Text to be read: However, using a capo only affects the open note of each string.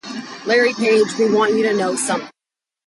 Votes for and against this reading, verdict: 0, 2, rejected